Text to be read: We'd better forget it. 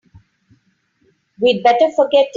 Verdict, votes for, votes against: rejected, 0, 2